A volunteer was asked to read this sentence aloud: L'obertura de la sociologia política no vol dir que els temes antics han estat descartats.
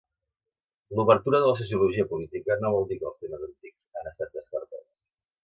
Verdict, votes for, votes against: rejected, 0, 2